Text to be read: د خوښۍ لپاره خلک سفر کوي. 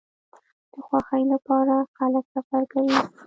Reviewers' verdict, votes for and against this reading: rejected, 1, 2